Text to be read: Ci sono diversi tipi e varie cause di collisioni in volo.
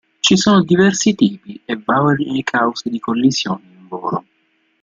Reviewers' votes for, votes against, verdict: 0, 2, rejected